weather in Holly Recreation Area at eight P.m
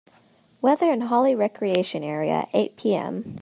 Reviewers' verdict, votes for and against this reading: rejected, 0, 2